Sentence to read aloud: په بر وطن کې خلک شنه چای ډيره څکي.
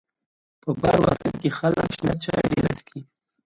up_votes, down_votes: 1, 2